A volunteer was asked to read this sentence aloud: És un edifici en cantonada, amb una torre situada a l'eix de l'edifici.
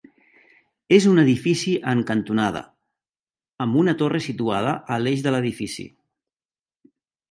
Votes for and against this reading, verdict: 3, 0, accepted